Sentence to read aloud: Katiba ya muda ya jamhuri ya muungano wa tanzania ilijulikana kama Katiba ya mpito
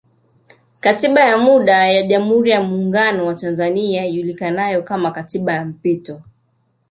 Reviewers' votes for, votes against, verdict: 2, 0, accepted